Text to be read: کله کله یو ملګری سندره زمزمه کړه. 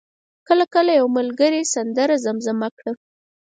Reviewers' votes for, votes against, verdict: 4, 0, accepted